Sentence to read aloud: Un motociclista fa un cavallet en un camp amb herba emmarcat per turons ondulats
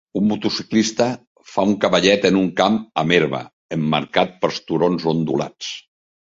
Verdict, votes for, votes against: accepted, 2, 1